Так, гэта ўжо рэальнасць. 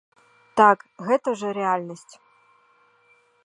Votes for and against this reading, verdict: 1, 2, rejected